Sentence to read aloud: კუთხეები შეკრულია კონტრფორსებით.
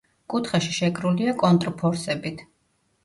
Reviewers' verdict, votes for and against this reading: rejected, 0, 2